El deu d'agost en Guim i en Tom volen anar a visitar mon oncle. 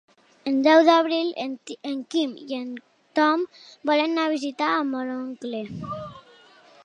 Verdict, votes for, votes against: rejected, 0, 2